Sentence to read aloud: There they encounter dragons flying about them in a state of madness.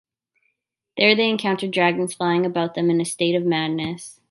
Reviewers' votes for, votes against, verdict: 2, 0, accepted